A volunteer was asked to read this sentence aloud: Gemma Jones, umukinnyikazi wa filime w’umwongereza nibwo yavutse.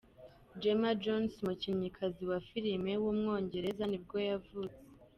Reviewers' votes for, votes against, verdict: 3, 0, accepted